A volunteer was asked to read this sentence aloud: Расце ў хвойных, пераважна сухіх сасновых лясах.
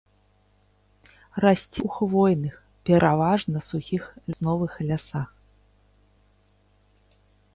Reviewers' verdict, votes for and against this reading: rejected, 0, 2